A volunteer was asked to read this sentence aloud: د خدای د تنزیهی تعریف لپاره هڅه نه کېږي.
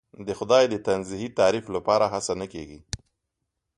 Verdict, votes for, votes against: accepted, 2, 0